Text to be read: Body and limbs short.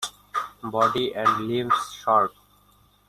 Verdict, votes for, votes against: rejected, 1, 2